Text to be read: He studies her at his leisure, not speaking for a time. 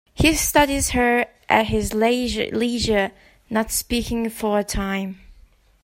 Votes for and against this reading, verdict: 1, 2, rejected